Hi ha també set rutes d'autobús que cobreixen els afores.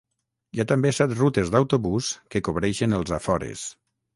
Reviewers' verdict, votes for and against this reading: accepted, 6, 0